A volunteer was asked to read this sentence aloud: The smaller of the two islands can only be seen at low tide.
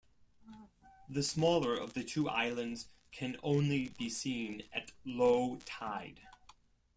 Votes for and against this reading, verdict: 2, 0, accepted